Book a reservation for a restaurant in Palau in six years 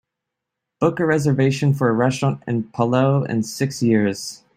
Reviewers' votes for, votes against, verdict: 2, 0, accepted